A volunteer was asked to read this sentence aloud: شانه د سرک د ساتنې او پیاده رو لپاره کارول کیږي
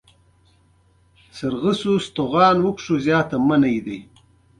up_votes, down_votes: 3, 0